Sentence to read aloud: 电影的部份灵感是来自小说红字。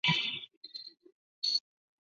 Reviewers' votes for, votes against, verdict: 2, 0, accepted